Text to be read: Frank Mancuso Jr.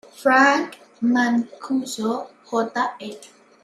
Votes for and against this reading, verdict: 1, 2, rejected